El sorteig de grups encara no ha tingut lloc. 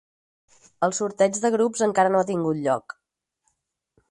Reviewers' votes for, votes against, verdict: 4, 0, accepted